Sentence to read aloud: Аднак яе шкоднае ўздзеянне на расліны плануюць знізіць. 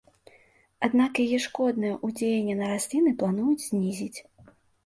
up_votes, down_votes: 0, 2